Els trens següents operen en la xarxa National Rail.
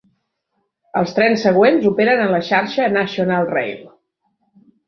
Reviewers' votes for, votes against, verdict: 1, 2, rejected